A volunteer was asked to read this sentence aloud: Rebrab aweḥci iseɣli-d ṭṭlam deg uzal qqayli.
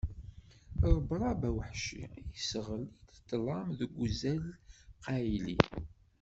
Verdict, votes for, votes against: accepted, 2, 1